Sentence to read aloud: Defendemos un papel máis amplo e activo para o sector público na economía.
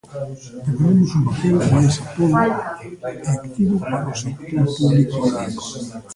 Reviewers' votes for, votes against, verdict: 1, 2, rejected